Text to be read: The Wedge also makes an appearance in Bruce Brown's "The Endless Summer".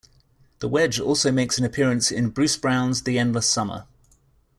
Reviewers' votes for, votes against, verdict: 3, 0, accepted